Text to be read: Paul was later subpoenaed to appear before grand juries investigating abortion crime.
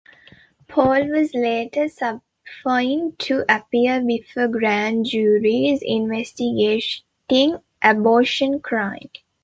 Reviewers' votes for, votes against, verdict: 1, 2, rejected